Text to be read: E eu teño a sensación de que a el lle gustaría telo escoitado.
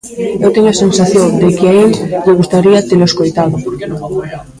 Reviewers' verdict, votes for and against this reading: rejected, 0, 2